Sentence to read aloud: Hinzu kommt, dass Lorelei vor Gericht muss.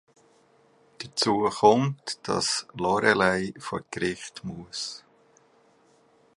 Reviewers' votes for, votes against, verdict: 1, 2, rejected